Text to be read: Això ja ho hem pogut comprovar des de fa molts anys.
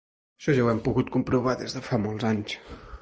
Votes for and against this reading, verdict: 2, 0, accepted